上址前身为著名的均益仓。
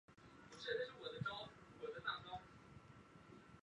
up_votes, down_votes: 0, 5